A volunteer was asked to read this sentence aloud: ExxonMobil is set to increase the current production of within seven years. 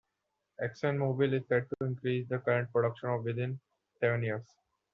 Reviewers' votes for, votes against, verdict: 2, 0, accepted